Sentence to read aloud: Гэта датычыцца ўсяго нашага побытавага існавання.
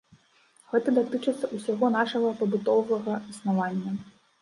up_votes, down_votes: 1, 2